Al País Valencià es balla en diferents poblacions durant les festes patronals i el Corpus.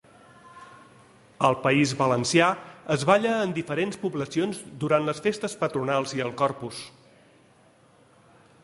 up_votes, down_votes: 2, 0